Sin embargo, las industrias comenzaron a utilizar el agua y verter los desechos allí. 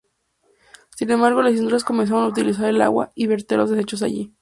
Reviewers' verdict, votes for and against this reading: rejected, 0, 2